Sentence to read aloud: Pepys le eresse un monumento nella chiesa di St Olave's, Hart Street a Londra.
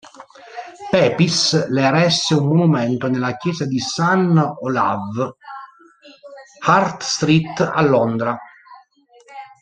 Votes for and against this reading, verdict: 0, 2, rejected